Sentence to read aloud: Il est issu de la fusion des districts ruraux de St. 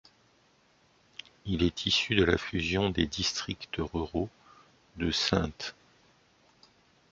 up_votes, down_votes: 1, 2